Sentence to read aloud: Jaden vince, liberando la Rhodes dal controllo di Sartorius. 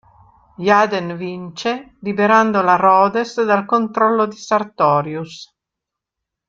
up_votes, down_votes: 1, 2